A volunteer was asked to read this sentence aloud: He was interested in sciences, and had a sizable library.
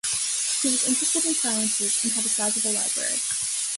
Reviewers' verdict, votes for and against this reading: accepted, 2, 0